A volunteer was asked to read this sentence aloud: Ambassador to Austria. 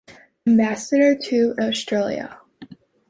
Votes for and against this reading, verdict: 0, 2, rejected